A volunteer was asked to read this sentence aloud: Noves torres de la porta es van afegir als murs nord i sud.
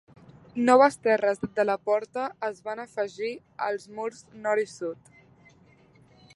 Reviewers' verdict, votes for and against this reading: rejected, 1, 2